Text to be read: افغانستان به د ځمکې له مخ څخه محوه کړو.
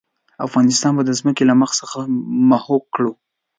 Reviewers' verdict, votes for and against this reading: accepted, 2, 0